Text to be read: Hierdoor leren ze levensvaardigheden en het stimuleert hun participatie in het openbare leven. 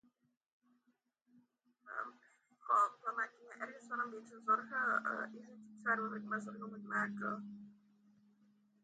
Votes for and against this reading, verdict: 0, 2, rejected